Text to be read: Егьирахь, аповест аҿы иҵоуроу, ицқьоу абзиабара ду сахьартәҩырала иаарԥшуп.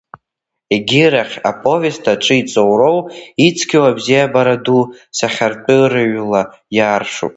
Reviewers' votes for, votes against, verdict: 1, 2, rejected